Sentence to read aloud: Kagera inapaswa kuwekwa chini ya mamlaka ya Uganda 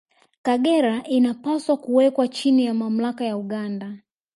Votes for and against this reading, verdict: 2, 0, accepted